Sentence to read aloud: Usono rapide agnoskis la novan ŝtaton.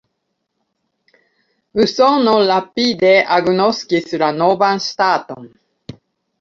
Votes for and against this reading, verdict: 3, 2, accepted